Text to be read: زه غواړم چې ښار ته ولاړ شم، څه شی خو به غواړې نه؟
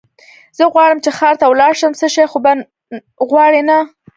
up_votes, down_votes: 2, 1